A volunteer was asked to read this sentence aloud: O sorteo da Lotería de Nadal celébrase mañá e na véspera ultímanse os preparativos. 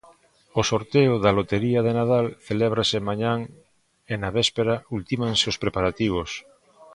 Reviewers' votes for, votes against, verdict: 0, 2, rejected